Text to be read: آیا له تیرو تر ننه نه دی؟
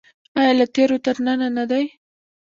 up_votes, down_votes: 0, 2